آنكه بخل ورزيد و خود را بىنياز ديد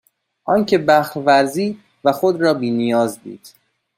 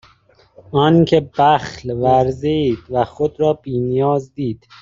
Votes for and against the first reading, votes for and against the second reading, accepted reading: 2, 1, 0, 2, first